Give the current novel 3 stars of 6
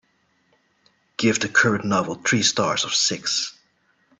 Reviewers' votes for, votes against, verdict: 0, 2, rejected